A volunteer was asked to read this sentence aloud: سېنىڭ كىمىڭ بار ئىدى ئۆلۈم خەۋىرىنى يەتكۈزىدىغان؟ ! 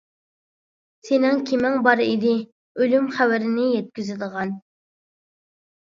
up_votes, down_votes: 2, 0